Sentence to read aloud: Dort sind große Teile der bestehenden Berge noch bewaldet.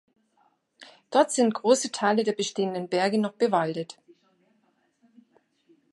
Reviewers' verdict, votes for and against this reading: accepted, 2, 0